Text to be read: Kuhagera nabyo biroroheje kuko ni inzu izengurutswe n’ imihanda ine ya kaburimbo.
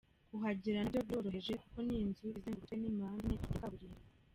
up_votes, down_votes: 0, 2